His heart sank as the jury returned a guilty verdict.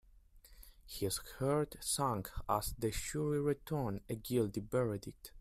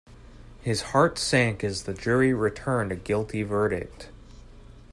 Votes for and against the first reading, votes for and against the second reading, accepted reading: 0, 2, 2, 0, second